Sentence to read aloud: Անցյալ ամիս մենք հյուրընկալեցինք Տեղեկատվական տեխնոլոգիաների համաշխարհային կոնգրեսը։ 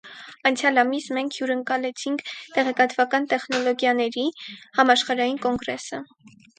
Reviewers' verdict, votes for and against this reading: rejected, 2, 4